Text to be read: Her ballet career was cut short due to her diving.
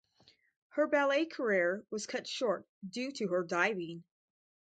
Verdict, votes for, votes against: accepted, 2, 0